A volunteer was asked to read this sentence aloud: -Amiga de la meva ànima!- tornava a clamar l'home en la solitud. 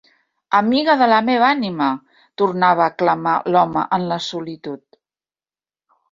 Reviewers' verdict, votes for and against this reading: accepted, 2, 0